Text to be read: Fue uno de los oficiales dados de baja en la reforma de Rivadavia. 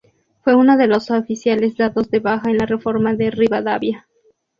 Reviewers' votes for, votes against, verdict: 2, 0, accepted